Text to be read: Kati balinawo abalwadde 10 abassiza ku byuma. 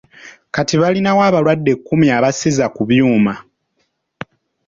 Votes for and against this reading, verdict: 0, 2, rejected